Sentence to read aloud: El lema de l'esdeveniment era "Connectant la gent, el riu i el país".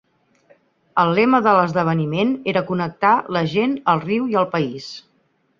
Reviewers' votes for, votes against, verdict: 0, 4, rejected